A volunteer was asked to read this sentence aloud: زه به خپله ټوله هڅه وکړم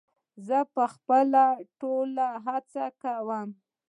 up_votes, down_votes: 3, 0